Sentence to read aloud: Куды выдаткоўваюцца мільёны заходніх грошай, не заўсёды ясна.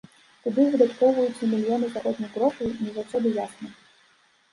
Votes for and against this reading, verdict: 2, 0, accepted